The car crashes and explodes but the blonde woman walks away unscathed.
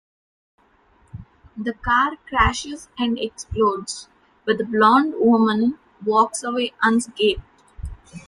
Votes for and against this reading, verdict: 1, 2, rejected